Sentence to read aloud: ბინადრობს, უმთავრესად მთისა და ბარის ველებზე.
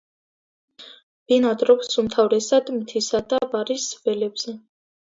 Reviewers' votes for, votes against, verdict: 2, 0, accepted